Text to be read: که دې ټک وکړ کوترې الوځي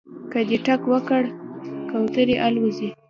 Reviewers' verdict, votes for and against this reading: accepted, 2, 0